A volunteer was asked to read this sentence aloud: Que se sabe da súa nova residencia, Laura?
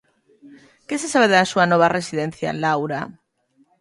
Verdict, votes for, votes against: accepted, 2, 0